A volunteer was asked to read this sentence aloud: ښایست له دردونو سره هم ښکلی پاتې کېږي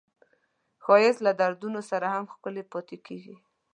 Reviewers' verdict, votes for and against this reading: accepted, 2, 0